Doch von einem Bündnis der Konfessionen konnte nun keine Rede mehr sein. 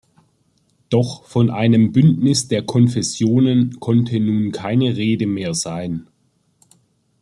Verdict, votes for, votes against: accepted, 2, 1